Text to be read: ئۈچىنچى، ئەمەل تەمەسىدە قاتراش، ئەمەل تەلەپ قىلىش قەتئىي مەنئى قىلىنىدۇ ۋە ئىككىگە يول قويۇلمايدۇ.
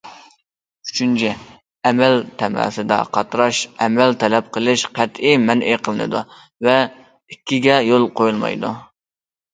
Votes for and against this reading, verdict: 2, 0, accepted